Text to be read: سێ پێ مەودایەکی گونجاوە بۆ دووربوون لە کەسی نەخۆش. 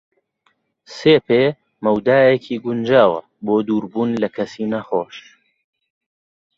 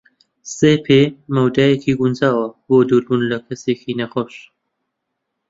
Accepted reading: first